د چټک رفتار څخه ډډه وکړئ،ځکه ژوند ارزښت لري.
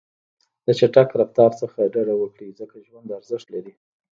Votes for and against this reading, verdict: 0, 2, rejected